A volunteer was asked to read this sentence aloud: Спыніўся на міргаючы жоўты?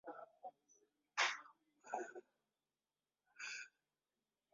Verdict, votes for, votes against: rejected, 0, 2